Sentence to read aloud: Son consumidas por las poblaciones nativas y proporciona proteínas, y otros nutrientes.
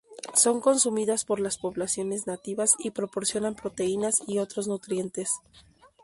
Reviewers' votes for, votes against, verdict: 0, 2, rejected